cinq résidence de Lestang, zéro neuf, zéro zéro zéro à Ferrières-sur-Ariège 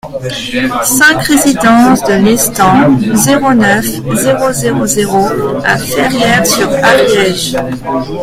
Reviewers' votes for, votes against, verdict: 1, 2, rejected